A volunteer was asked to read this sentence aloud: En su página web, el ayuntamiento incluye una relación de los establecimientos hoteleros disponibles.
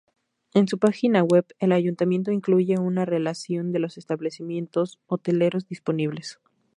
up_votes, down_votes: 2, 0